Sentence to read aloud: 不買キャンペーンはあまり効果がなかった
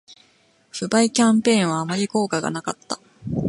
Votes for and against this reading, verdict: 2, 0, accepted